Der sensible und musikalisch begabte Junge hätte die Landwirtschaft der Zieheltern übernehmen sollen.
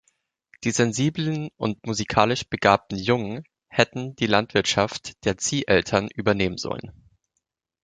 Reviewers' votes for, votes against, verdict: 0, 3, rejected